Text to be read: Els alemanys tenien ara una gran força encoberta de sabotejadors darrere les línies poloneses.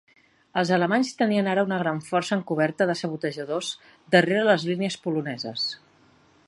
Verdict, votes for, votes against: accepted, 3, 0